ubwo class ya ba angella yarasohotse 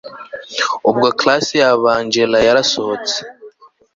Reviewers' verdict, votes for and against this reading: accepted, 2, 0